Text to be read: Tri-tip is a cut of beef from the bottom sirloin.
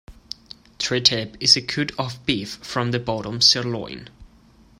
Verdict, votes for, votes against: rejected, 0, 2